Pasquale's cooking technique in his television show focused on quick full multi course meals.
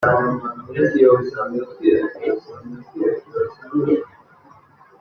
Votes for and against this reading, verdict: 0, 2, rejected